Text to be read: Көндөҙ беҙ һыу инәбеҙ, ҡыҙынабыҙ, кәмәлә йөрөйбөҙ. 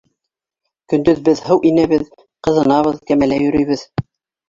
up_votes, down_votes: 2, 0